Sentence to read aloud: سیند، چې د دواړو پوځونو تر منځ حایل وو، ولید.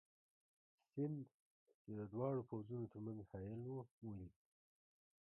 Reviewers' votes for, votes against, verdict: 0, 2, rejected